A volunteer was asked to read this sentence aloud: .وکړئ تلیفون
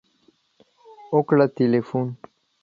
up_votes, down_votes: 1, 2